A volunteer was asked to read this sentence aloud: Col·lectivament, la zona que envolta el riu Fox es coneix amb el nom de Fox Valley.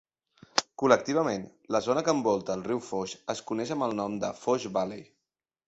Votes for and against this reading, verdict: 1, 2, rejected